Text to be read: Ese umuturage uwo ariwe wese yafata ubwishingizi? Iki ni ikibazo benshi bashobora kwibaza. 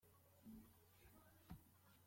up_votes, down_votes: 0, 3